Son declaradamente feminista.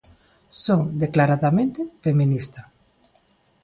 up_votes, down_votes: 2, 0